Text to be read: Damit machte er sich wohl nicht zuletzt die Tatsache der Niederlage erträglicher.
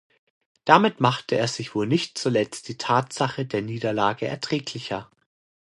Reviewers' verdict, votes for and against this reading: accepted, 2, 0